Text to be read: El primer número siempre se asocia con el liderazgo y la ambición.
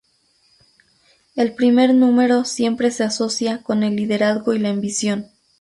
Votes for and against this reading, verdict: 4, 0, accepted